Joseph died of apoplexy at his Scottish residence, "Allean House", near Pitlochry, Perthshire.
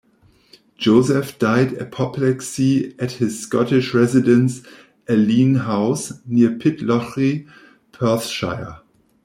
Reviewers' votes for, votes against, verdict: 1, 2, rejected